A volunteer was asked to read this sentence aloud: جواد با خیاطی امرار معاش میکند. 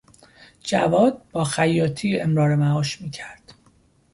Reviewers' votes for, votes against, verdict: 1, 2, rejected